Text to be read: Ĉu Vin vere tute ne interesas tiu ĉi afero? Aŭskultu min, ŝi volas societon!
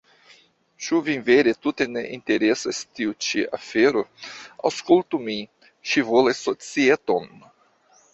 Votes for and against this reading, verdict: 0, 2, rejected